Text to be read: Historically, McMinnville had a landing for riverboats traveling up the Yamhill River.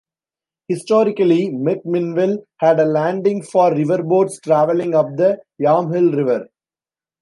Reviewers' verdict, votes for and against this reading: accepted, 2, 0